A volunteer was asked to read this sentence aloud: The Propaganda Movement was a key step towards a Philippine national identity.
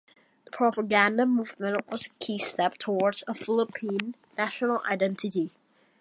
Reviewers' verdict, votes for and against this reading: rejected, 1, 2